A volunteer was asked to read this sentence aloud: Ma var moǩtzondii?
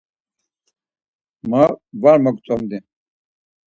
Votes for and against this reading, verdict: 2, 4, rejected